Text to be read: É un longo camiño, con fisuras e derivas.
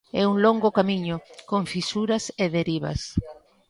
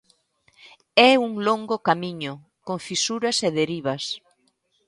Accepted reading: second